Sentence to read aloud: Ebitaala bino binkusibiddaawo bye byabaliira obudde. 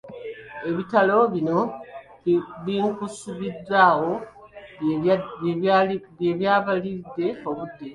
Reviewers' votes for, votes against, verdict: 0, 2, rejected